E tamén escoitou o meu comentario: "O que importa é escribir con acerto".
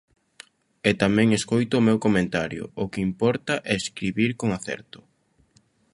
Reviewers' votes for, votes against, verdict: 0, 2, rejected